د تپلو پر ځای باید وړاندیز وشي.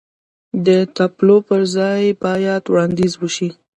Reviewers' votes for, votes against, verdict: 1, 2, rejected